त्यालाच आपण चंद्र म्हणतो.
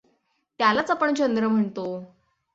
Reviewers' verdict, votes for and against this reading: accepted, 6, 0